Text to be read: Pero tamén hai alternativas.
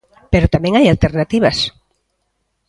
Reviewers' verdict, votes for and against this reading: accepted, 2, 0